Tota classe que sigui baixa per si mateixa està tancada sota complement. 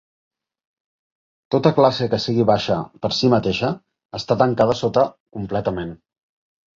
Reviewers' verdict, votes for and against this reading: rejected, 0, 3